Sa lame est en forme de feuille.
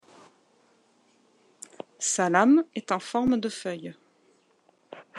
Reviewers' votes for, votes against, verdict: 2, 0, accepted